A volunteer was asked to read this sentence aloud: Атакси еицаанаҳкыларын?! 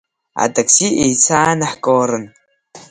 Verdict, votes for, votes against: accepted, 2, 1